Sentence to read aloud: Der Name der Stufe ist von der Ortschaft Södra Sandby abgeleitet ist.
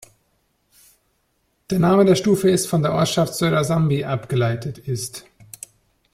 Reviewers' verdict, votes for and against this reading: rejected, 0, 2